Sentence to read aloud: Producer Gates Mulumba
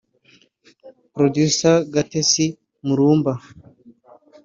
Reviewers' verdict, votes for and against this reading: rejected, 1, 2